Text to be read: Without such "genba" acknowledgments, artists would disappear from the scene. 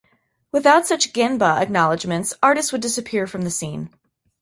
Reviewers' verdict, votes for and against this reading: accepted, 2, 0